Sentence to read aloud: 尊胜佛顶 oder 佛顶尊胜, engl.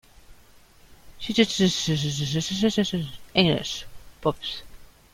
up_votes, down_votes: 0, 2